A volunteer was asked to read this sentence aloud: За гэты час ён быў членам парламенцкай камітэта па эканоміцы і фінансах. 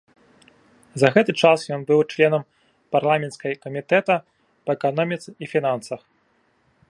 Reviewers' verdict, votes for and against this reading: accepted, 2, 0